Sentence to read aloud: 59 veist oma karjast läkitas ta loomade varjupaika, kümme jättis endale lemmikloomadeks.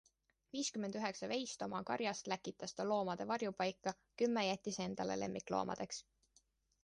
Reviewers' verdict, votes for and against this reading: rejected, 0, 2